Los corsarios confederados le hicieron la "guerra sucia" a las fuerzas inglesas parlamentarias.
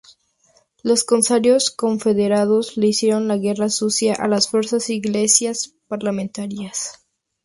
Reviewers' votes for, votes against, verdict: 0, 4, rejected